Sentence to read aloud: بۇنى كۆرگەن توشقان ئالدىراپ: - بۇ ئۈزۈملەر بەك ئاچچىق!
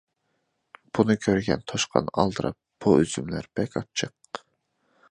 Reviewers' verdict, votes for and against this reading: accepted, 2, 0